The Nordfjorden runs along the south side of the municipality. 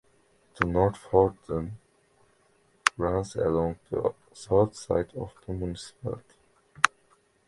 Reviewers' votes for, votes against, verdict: 0, 2, rejected